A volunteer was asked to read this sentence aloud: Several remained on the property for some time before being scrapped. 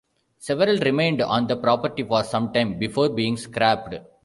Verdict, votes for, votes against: rejected, 1, 2